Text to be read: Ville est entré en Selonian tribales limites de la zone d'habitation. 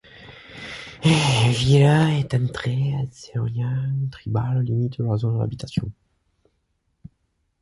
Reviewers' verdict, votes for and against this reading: accepted, 2, 0